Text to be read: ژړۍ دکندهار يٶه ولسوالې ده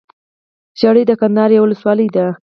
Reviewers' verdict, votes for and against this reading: accepted, 4, 2